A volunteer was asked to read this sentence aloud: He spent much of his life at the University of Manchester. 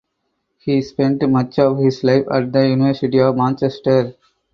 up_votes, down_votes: 4, 0